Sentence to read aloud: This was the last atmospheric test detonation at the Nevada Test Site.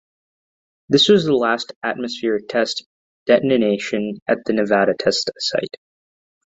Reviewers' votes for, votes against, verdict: 0, 2, rejected